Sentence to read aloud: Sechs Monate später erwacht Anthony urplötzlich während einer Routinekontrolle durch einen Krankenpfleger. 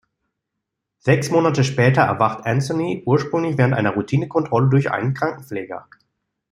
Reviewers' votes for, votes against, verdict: 0, 2, rejected